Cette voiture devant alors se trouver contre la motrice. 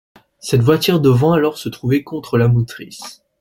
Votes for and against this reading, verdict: 2, 0, accepted